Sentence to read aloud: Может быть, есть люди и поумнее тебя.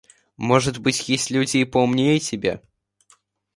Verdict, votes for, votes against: accepted, 2, 0